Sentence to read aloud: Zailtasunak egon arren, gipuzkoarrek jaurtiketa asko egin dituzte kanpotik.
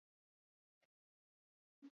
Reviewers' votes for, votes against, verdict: 0, 2, rejected